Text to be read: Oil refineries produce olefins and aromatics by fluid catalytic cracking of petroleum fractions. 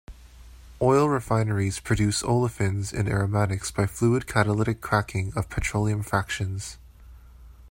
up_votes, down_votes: 2, 0